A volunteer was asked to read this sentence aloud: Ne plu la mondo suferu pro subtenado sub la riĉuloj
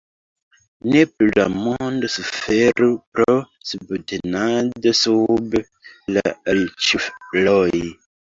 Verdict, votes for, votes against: rejected, 0, 2